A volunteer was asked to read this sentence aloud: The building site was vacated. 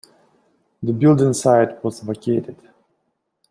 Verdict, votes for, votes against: accepted, 2, 0